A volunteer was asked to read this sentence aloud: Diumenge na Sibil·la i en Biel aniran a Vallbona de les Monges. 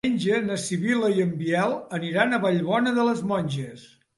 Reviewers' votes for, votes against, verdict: 1, 2, rejected